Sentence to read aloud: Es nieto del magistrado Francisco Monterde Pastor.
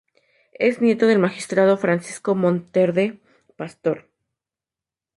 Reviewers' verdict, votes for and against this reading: accepted, 4, 0